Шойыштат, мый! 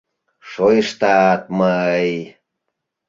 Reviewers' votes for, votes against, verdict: 3, 0, accepted